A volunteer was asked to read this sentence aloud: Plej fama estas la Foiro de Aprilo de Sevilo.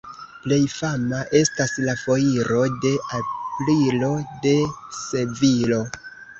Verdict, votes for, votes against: rejected, 1, 2